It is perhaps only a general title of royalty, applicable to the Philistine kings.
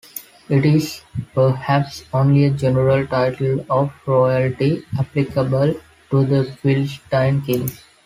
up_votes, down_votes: 2, 0